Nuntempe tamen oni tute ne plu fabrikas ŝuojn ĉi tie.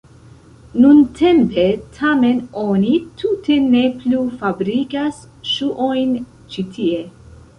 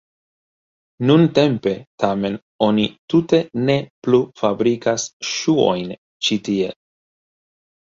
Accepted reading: first